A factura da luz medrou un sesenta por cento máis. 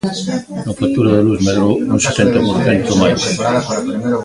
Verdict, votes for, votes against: rejected, 0, 2